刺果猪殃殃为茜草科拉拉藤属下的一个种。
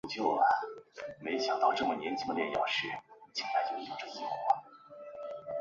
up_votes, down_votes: 0, 2